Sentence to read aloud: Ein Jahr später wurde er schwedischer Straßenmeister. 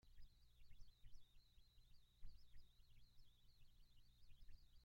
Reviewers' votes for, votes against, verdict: 0, 2, rejected